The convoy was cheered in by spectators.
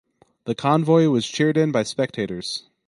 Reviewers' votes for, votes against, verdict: 0, 2, rejected